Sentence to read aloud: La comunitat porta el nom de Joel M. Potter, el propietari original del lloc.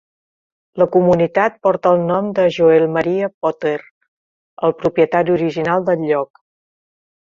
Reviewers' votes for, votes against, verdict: 1, 2, rejected